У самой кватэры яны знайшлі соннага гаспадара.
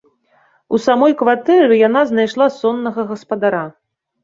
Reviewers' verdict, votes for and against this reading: rejected, 1, 2